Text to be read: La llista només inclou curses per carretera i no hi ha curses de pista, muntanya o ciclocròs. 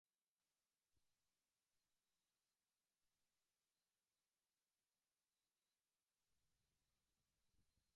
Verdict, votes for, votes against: rejected, 0, 2